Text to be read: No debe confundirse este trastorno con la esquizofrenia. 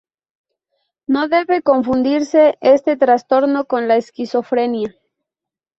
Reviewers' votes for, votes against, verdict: 0, 2, rejected